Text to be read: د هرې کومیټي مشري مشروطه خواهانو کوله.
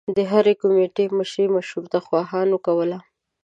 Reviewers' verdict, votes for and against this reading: accepted, 2, 0